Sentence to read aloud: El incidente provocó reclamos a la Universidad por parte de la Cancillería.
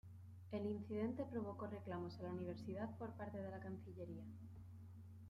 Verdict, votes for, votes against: rejected, 1, 2